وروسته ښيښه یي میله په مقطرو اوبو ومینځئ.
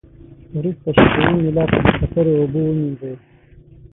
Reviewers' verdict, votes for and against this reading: rejected, 3, 6